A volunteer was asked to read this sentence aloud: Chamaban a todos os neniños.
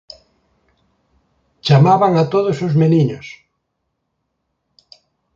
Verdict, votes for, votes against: accepted, 2, 0